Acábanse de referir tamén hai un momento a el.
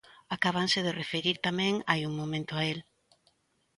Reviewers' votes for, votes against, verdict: 2, 0, accepted